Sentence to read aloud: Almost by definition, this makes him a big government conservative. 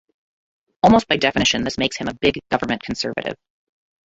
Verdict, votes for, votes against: rejected, 0, 2